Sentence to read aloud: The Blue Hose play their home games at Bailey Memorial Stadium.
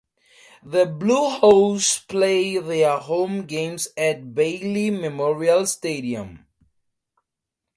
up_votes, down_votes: 4, 0